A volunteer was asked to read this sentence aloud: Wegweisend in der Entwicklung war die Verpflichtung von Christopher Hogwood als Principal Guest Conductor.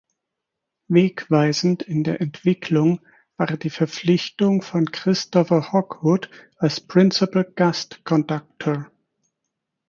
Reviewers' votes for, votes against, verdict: 2, 4, rejected